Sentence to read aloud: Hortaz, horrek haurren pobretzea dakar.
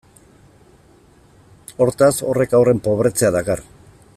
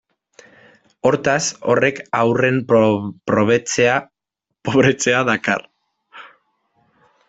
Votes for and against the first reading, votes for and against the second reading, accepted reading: 2, 0, 0, 2, first